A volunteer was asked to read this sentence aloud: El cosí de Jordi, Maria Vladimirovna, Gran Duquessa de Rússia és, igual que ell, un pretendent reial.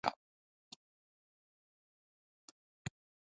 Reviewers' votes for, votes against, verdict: 0, 2, rejected